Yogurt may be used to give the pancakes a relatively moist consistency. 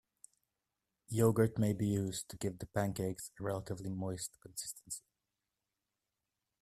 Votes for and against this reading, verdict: 2, 1, accepted